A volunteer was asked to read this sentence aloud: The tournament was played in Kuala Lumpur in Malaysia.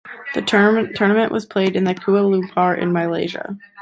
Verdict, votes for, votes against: rejected, 1, 2